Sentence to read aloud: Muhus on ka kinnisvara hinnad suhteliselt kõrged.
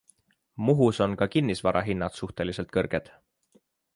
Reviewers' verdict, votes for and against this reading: accepted, 3, 0